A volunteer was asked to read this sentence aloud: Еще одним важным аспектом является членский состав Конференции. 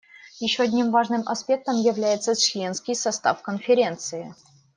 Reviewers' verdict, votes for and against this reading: accepted, 2, 0